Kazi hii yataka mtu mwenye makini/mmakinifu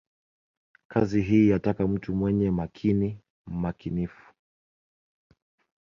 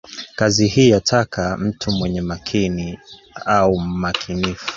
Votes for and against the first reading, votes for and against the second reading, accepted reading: 0, 2, 2, 1, second